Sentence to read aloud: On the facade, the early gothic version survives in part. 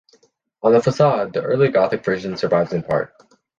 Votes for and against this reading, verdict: 2, 0, accepted